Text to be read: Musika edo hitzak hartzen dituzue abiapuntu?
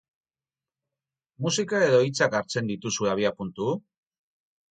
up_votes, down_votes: 4, 0